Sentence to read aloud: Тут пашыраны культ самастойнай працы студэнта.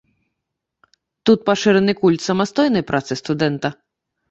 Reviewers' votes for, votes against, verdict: 2, 0, accepted